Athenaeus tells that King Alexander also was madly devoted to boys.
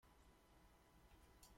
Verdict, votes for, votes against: rejected, 0, 2